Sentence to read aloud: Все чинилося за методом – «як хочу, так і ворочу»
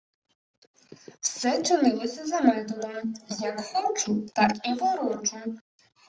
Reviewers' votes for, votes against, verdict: 0, 2, rejected